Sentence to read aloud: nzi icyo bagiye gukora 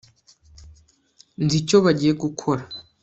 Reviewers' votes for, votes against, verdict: 2, 0, accepted